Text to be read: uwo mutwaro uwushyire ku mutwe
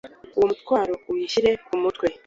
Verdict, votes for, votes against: accepted, 2, 0